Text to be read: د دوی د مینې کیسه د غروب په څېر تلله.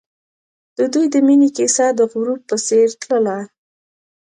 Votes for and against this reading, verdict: 2, 0, accepted